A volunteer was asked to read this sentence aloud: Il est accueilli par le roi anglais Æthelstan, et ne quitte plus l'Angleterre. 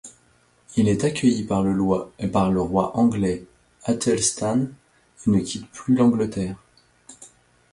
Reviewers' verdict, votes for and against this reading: rejected, 1, 2